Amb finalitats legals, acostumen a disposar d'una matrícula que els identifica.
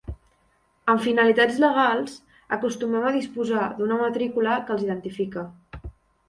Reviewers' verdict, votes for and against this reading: accepted, 2, 0